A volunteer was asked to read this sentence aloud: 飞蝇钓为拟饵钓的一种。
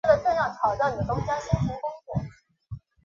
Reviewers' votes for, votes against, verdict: 0, 3, rejected